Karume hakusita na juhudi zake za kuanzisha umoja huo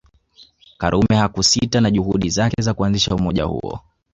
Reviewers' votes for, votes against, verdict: 1, 2, rejected